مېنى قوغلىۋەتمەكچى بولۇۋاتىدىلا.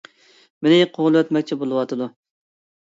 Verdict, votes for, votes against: rejected, 1, 2